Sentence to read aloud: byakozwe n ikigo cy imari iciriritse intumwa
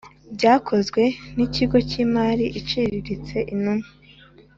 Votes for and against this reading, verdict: 2, 0, accepted